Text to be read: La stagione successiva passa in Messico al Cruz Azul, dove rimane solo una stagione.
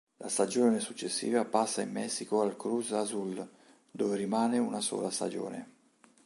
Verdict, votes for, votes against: rejected, 1, 2